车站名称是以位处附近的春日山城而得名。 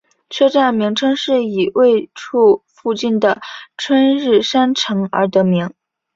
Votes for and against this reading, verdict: 4, 0, accepted